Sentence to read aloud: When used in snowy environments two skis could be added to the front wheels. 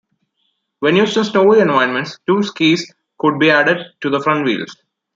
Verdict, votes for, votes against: accepted, 2, 0